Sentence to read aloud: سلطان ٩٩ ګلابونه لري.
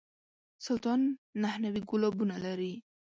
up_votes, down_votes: 0, 2